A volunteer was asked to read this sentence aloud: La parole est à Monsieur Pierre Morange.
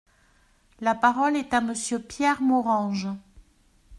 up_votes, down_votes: 2, 0